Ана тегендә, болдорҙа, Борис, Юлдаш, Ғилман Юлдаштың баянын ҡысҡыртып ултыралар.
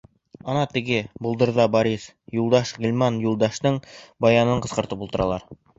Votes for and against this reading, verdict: 0, 2, rejected